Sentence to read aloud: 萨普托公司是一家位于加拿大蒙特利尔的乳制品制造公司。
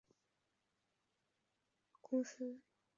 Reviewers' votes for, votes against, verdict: 0, 4, rejected